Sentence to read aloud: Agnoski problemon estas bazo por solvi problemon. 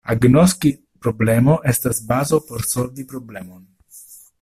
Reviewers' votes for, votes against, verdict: 0, 2, rejected